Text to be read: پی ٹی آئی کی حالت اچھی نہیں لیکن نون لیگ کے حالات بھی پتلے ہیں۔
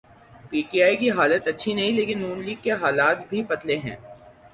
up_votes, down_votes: 6, 0